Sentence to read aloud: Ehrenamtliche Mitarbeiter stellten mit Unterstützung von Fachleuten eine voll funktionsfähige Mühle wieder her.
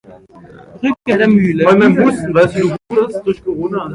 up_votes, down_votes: 0, 2